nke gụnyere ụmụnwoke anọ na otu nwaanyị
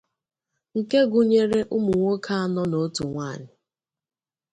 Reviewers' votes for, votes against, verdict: 2, 0, accepted